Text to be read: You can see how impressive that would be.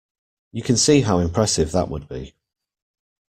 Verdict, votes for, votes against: accepted, 2, 0